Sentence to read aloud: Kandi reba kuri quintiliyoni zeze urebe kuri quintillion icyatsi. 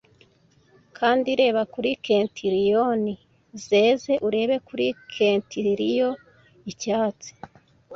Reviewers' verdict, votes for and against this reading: rejected, 1, 2